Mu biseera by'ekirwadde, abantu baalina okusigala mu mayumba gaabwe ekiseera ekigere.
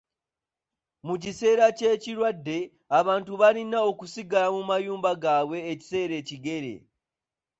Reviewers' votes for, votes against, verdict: 1, 2, rejected